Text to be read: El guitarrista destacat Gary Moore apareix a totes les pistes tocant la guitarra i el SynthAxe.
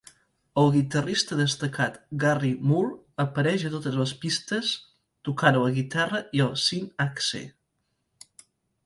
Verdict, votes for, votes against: accepted, 2, 0